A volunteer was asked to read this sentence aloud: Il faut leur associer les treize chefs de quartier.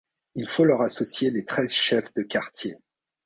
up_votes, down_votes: 2, 0